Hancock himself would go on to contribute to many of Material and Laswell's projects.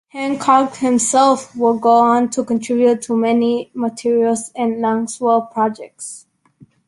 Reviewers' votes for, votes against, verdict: 0, 3, rejected